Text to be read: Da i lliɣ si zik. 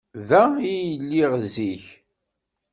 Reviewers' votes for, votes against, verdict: 1, 2, rejected